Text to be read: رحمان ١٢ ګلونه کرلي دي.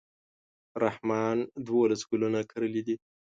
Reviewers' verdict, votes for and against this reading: rejected, 0, 2